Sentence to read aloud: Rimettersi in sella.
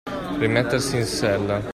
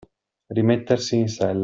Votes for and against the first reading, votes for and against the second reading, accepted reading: 2, 1, 0, 2, first